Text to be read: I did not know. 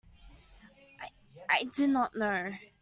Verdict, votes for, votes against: rejected, 1, 2